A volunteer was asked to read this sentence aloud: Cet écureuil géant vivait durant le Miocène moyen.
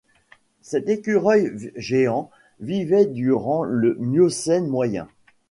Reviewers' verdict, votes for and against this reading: accepted, 2, 1